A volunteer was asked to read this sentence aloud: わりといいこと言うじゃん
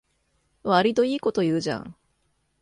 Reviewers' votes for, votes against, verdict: 2, 0, accepted